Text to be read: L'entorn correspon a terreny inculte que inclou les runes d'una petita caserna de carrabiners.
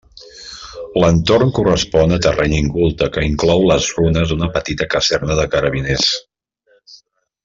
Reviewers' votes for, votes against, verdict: 1, 2, rejected